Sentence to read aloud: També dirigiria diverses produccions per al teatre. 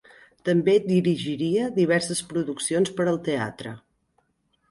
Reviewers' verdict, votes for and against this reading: accepted, 3, 0